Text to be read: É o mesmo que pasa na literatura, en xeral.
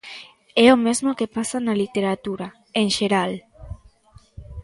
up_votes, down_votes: 2, 0